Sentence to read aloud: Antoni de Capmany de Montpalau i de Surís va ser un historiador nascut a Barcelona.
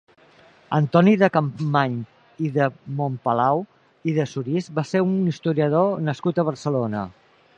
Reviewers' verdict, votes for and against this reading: rejected, 0, 2